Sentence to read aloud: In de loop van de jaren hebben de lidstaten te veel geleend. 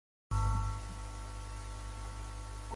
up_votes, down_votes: 0, 2